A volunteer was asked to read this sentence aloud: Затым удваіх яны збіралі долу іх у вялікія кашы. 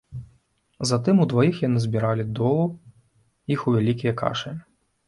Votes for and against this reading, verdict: 2, 0, accepted